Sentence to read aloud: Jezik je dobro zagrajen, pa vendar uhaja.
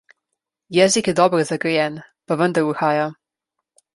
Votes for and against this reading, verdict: 0, 2, rejected